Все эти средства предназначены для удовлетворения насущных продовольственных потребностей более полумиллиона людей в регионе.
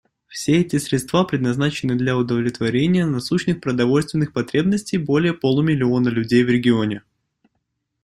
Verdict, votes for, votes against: accepted, 2, 0